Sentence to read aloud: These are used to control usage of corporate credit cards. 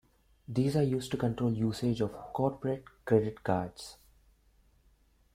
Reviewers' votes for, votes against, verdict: 0, 2, rejected